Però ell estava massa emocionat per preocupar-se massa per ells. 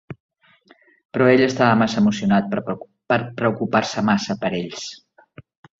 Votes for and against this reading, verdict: 0, 3, rejected